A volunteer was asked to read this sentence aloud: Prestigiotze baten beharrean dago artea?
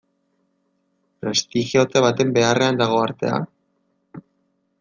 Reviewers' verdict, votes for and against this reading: rejected, 1, 2